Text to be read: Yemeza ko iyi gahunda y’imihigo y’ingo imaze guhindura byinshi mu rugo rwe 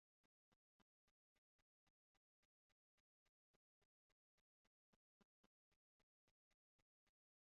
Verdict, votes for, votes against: rejected, 1, 2